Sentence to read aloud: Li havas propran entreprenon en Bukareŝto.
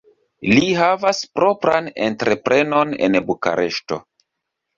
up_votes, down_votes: 2, 0